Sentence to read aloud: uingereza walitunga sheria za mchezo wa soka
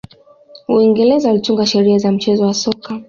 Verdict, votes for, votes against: accepted, 2, 0